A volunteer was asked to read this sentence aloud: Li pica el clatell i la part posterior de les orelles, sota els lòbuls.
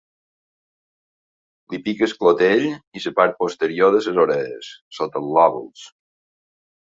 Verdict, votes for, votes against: rejected, 0, 2